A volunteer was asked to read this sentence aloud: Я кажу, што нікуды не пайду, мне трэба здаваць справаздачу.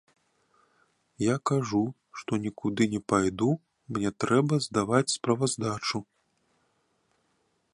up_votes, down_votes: 2, 0